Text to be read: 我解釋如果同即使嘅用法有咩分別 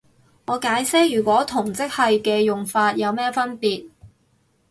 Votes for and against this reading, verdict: 2, 2, rejected